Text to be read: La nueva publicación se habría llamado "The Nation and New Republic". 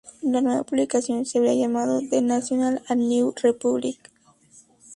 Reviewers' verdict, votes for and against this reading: rejected, 2, 2